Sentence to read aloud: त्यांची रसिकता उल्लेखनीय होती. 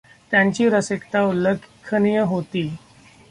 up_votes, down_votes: 0, 2